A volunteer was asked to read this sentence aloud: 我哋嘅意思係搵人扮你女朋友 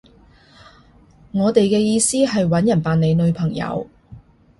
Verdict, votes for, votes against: accepted, 3, 0